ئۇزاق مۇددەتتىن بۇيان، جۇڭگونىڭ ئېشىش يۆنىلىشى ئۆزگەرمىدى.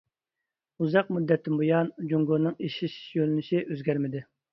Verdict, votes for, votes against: accepted, 2, 0